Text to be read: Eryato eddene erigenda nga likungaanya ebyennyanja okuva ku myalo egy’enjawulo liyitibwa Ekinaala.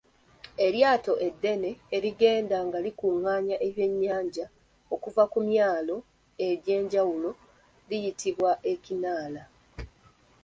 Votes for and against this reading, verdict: 2, 0, accepted